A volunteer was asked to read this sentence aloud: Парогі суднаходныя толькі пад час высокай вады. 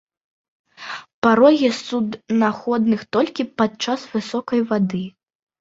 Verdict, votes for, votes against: rejected, 0, 2